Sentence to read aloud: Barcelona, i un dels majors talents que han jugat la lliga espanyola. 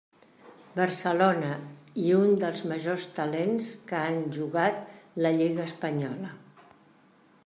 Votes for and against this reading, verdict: 3, 0, accepted